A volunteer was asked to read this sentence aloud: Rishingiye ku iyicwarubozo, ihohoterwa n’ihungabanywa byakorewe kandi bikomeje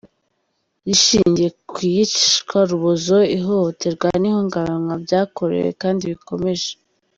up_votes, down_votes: 1, 2